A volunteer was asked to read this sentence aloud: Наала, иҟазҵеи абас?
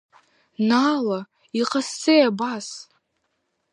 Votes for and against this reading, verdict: 3, 0, accepted